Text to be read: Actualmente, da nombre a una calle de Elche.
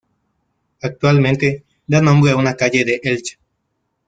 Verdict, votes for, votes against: rejected, 1, 2